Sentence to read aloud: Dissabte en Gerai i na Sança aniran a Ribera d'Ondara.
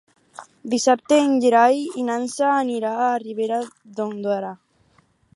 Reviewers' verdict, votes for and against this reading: rejected, 0, 4